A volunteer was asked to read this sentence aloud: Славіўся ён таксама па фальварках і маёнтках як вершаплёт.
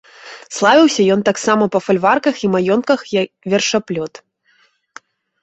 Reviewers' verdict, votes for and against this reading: rejected, 1, 2